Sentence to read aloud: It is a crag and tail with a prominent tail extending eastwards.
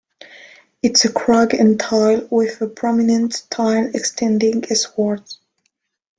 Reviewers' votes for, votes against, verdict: 2, 0, accepted